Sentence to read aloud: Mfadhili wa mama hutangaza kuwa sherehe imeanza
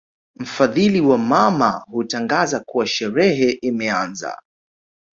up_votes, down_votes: 2, 0